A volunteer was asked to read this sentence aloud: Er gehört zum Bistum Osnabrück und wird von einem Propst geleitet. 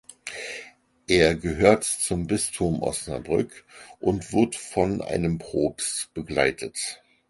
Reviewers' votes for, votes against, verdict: 0, 4, rejected